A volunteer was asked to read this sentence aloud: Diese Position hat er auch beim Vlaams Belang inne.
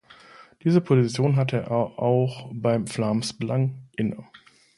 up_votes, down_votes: 1, 2